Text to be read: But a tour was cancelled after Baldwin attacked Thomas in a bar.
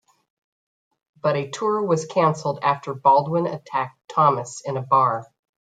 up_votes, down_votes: 0, 2